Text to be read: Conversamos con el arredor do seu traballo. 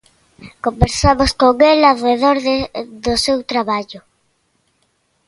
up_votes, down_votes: 0, 2